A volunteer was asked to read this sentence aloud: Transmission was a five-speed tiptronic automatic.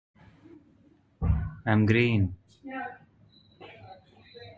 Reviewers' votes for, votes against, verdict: 0, 2, rejected